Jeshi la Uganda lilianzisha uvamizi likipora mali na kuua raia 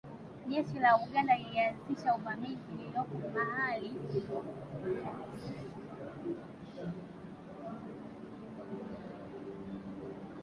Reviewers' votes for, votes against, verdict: 0, 2, rejected